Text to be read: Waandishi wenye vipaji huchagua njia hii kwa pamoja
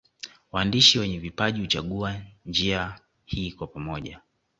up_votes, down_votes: 2, 0